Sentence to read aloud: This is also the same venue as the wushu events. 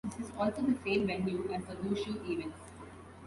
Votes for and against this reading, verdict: 2, 1, accepted